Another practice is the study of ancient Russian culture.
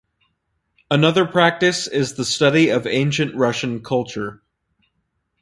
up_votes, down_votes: 4, 0